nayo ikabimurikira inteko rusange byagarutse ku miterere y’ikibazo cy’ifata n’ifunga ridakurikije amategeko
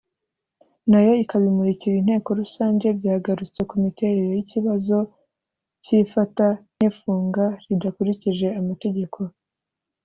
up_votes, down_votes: 2, 0